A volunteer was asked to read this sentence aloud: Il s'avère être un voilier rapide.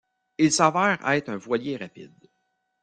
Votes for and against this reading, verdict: 0, 2, rejected